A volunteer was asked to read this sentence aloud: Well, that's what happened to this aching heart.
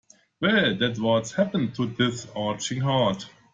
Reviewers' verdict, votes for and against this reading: rejected, 1, 2